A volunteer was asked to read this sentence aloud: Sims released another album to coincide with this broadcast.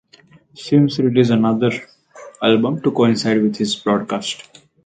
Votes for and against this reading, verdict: 0, 2, rejected